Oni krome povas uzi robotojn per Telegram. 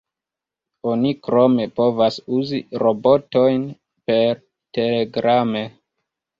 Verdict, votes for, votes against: rejected, 0, 2